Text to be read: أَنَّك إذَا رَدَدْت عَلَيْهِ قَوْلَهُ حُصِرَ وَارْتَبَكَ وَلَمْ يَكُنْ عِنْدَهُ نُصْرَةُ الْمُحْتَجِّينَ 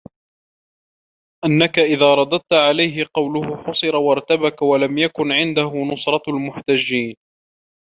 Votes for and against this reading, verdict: 1, 2, rejected